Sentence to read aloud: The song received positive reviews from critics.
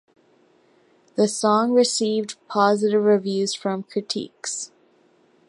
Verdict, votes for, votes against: accepted, 2, 0